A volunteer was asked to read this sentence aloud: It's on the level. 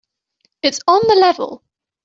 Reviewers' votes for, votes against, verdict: 2, 0, accepted